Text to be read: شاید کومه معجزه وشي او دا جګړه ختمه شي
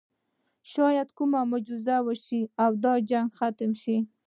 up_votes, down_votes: 2, 0